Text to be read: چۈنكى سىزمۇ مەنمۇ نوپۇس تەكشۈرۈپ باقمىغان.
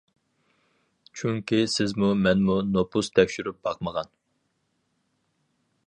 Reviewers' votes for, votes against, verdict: 4, 0, accepted